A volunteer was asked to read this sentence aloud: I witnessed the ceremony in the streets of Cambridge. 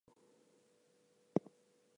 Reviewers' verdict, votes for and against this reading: rejected, 0, 4